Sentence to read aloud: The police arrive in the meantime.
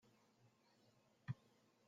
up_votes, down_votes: 0, 2